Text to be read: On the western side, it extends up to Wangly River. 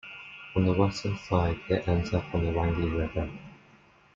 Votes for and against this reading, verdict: 0, 2, rejected